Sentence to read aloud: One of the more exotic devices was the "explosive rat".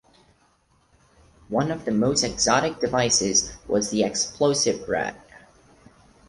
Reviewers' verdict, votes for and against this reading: rejected, 2, 4